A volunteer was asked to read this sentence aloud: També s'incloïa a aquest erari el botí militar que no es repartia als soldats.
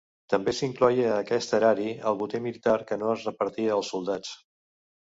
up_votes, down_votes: 1, 2